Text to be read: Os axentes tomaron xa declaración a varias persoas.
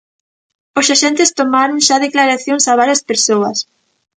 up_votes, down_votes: 0, 2